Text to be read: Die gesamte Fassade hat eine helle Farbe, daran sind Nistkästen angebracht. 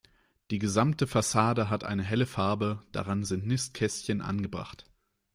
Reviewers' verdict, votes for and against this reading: rejected, 0, 2